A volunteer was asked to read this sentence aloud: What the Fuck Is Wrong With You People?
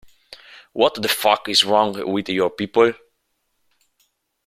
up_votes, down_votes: 1, 2